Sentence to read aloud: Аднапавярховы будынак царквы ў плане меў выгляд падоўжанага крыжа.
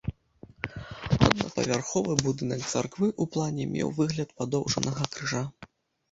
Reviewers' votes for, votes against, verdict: 0, 2, rejected